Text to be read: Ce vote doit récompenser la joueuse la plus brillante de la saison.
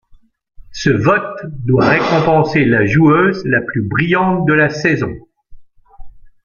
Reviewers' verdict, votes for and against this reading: accepted, 2, 0